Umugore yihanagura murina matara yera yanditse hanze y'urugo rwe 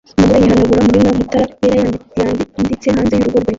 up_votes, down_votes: 0, 2